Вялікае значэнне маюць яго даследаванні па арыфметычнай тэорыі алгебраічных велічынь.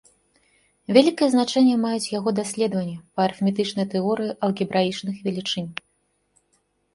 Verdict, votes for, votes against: accepted, 2, 0